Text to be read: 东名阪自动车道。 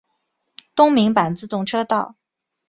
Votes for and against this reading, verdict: 2, 0, accepted